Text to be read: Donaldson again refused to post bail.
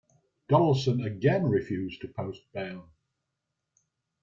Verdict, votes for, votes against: accepted, 2, 1